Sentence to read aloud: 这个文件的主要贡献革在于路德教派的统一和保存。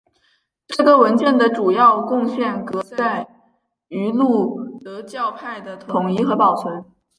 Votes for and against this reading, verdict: 2, 0, accepted